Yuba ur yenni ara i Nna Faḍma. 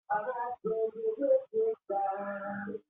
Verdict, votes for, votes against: rejected, 0, 2